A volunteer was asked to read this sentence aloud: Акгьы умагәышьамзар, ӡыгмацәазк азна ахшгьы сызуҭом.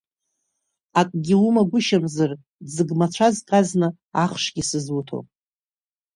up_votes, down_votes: 2, 0